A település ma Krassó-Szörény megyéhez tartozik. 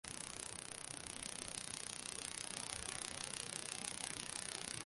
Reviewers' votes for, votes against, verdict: 0, 2, rejected